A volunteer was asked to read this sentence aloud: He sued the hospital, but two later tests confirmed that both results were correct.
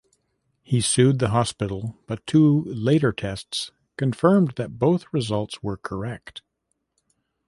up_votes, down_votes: 2, 0